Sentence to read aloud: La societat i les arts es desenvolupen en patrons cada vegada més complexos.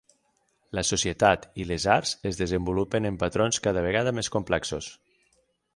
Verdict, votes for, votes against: accepted, 6, 0